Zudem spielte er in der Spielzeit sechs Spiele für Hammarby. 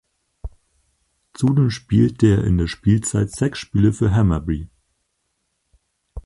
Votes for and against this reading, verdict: 2, 4, rejected